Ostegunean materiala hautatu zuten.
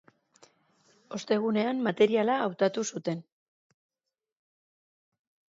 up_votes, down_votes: 2, 0